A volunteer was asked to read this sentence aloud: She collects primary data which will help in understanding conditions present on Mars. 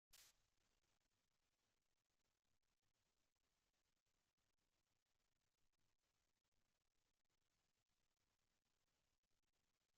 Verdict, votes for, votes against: rejected, 0, 2